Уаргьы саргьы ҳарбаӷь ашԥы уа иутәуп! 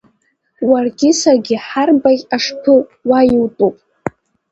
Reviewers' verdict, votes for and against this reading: accepted, 2, 1